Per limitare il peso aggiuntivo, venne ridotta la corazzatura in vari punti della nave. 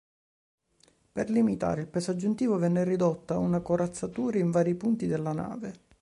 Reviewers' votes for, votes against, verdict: 1, 2, rejected